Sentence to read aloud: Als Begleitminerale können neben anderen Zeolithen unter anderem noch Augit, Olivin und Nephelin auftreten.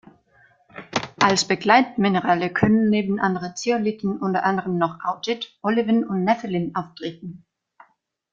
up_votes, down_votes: 2, 0